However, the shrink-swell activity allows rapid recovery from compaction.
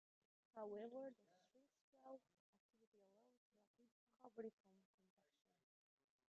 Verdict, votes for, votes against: rejected, 0, 2